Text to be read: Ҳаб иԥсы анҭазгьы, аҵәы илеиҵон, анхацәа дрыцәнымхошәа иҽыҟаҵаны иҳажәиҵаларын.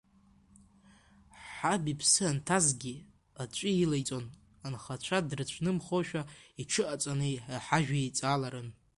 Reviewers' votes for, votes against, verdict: 2, 1, accepted